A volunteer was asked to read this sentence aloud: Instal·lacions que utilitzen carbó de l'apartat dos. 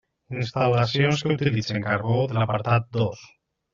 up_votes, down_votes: 1, 2